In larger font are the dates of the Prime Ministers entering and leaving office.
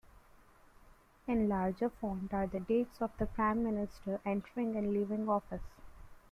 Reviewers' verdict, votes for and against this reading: rejected, 0, 2